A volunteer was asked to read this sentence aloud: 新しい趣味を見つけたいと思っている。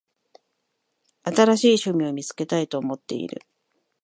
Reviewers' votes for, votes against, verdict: 2, 0, accepted